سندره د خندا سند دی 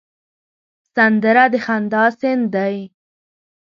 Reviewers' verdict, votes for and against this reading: rejected, 1, 2